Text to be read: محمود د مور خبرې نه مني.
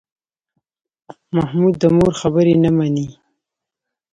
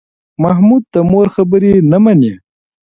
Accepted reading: second